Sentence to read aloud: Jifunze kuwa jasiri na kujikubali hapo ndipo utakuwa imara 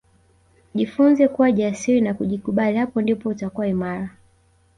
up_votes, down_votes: 2, 0